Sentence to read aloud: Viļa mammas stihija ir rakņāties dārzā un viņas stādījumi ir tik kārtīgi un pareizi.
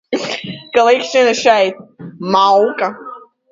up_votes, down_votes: 0, 2